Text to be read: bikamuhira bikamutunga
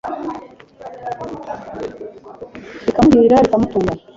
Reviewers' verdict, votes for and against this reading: accepted, 2, 1